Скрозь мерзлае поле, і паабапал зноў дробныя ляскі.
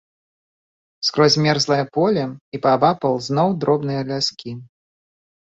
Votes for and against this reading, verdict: 2, 0, accepted